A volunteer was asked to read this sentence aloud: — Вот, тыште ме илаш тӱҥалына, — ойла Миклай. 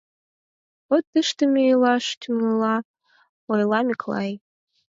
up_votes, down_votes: 2, 4